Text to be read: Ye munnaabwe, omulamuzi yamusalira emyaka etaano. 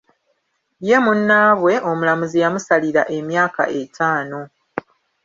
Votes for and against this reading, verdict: 0, 2, rejected